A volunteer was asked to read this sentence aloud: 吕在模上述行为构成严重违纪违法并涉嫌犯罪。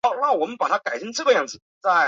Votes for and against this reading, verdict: 0, 2, rejected